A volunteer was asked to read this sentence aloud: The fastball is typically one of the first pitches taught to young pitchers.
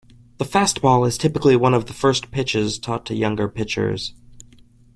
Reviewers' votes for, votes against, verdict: 1, 2, rejected